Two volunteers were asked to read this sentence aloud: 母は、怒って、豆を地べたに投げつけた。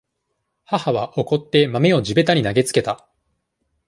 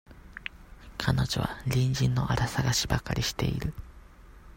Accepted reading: first